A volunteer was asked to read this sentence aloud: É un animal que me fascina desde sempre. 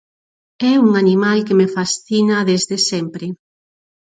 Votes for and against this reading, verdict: 4, 0, accepted